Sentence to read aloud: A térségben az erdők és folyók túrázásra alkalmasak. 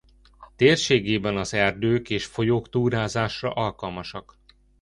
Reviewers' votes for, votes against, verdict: 0, 2, rejected